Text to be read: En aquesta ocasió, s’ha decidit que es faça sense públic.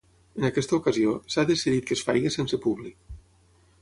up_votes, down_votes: 3, 6